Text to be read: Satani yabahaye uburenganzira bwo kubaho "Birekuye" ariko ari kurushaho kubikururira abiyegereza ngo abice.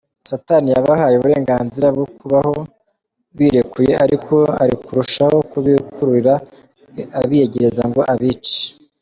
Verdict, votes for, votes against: accepted, 2, 0